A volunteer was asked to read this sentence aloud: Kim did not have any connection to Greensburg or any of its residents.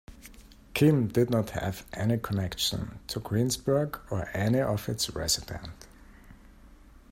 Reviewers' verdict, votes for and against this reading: rejected, 1, 2